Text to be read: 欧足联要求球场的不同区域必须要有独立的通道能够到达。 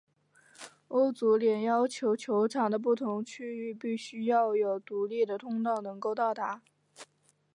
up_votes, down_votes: 4, 0